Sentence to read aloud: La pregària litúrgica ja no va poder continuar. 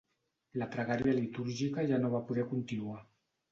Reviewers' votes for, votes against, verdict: 2, 0, accepted